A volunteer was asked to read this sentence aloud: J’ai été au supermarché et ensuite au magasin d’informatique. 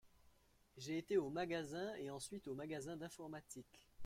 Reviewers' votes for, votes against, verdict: 0, 2, rejected